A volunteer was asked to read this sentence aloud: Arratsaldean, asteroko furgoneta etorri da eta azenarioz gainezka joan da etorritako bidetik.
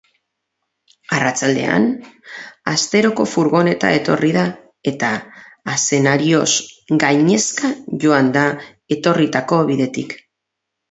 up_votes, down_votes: 2, 0